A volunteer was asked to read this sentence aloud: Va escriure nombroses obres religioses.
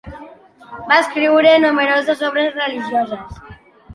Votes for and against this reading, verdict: 1, 2, rejected